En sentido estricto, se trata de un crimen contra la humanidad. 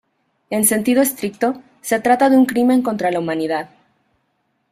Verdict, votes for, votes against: rejected, 1, 2